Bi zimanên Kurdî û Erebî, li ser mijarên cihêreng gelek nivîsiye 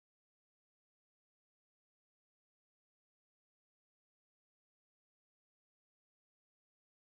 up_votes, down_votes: 0, 2